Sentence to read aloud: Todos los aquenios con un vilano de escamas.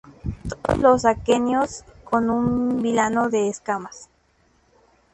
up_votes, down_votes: 0, 2